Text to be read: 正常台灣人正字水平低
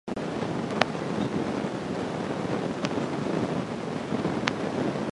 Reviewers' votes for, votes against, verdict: 0, 2, rejected